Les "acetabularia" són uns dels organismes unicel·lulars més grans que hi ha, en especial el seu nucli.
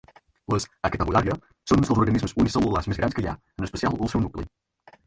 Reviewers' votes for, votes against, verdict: 0, 4, rejected